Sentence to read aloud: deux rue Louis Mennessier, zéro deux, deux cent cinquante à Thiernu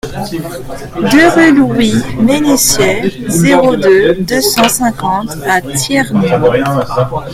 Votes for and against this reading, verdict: 2, 1, accepted